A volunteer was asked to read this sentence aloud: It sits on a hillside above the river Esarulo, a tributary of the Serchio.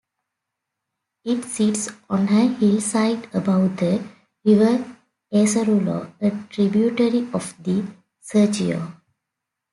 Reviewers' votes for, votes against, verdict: 2, 0, accepted